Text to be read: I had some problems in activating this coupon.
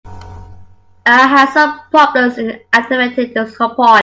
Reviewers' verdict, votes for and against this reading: rejected, 0, 2